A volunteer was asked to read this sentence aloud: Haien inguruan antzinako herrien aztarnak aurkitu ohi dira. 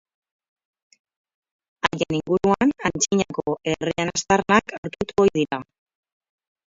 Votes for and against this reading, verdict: 0, 4, rejected